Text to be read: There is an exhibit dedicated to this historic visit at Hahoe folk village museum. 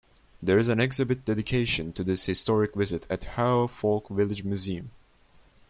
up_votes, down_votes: 0, 2